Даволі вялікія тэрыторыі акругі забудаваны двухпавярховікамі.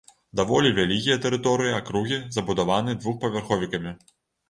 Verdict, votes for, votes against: accepted, 2, 0